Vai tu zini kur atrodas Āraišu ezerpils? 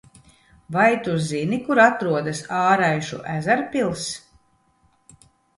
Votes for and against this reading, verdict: 2, 0, accepted